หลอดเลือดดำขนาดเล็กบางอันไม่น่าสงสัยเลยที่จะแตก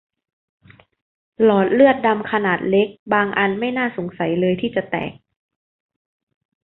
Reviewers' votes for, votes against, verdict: 2, 0, accepted